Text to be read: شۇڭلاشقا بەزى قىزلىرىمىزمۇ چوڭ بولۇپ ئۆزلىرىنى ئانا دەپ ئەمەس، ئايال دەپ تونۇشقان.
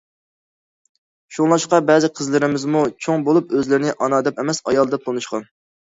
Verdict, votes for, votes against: accepted, 2, 0